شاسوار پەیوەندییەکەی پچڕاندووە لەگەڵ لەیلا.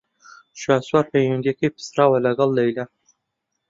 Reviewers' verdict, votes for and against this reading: rejected, 0, 2